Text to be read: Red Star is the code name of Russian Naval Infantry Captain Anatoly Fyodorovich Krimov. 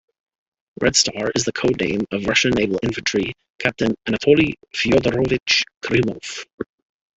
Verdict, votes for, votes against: accepted, 2, 1